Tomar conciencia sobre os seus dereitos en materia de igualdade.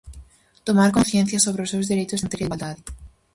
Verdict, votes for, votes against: rejected, 0, 4